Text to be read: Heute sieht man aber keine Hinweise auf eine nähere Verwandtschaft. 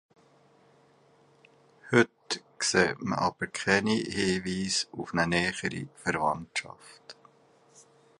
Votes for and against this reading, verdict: 0, 2, rejected